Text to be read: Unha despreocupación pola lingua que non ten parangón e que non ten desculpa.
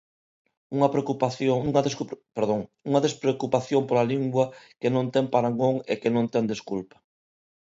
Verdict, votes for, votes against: rejected, 0, 2